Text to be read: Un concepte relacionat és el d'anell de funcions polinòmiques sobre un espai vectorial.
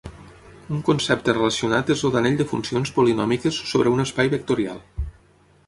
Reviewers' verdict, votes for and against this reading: rejected, 3, 6